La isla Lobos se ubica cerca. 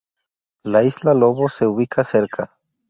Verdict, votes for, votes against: rejected, 0, 2